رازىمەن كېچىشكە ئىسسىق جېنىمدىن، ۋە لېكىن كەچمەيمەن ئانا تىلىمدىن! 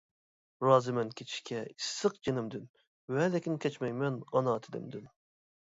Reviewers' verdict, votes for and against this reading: accepted, 2, 0